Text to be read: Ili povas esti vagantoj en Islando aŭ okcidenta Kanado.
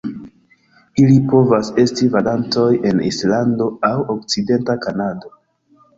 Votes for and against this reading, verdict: 2, 1, accepted